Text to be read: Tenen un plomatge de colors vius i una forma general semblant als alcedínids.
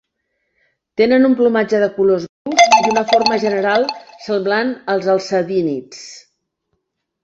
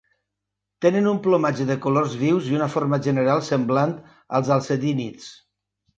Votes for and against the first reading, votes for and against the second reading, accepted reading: 0, 2, 7, 0, second